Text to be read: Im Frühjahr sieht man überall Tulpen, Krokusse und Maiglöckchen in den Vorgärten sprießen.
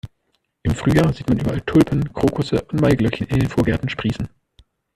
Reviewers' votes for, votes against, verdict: 2, 1, accepted